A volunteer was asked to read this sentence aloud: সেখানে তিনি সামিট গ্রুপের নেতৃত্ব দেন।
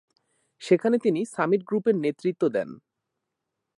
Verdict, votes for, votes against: accepted, 3, 0